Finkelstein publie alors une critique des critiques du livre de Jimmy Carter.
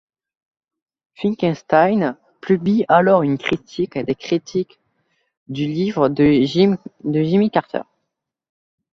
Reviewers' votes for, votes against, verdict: 0, 2, rejected